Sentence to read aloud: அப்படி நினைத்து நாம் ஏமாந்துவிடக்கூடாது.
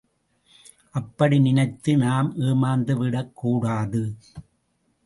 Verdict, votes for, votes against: accepted, 2, 0